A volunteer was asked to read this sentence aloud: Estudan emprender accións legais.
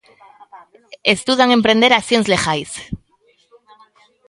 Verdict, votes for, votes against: rejected, 0, 2